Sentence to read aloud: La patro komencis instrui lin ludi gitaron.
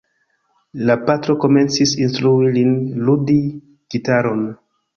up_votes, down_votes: 2, 0